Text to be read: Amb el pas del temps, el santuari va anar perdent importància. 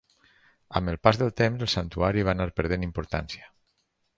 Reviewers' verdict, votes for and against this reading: accepted, 4, 0